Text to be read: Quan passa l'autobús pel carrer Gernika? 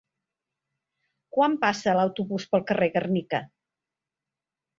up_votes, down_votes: 2, 0